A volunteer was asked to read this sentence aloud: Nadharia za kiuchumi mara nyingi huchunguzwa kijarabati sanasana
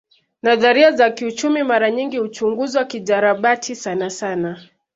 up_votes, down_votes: 2, 0